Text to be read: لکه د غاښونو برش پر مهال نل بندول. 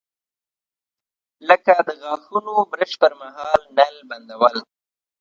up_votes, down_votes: 2, 0